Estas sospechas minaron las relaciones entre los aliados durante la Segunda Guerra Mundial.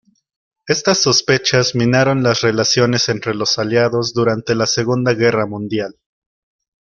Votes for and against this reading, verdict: 2, 0, accepted